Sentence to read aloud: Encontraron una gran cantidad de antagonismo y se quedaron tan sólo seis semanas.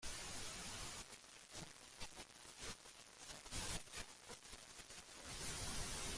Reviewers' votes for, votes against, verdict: 0, 2, rejected